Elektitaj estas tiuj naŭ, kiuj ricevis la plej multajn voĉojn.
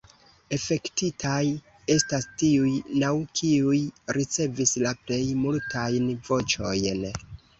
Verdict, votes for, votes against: rejected, 0, 2